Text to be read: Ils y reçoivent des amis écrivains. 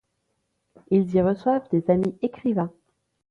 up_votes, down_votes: 2, 0